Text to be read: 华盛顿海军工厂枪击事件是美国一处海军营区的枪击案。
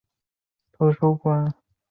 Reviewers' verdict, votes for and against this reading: rejected, 0, 2